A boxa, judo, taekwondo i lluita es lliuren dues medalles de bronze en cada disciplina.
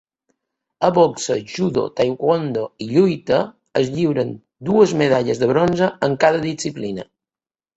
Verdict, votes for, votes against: accepted, 2, 0